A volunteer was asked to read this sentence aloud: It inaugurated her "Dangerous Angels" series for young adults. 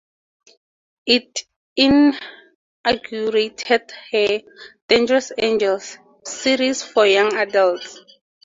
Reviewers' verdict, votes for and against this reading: rejected, 2, 4